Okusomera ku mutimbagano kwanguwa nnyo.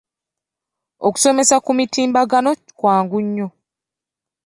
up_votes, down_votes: 2, 1